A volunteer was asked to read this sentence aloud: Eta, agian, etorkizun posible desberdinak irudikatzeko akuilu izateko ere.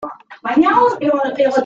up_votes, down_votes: 0, 2